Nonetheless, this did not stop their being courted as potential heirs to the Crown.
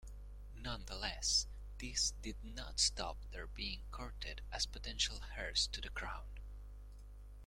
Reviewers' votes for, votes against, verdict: 1, 2, rejected